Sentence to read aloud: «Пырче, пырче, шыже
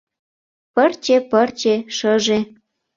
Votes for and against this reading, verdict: 2, 0, accepted